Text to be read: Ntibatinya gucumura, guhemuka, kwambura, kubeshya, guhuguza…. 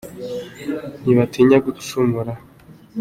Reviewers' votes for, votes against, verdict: 0, 2, rejected